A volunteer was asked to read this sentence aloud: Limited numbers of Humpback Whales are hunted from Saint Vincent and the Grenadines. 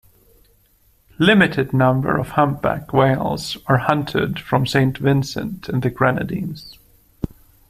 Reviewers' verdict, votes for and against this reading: rejected, 0, 2